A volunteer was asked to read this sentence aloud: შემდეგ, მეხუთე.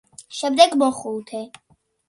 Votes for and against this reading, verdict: 2, 0, accepted